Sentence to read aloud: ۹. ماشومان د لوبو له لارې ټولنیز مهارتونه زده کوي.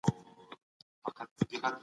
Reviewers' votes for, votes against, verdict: 0, 2, rejected